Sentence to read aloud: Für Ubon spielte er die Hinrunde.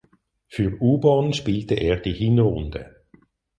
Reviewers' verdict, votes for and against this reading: accepted, 4, 0